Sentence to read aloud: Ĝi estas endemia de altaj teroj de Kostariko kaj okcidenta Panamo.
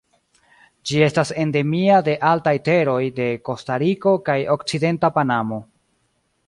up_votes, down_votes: 2, 0